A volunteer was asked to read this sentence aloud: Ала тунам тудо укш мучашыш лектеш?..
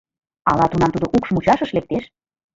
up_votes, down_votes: 2, 1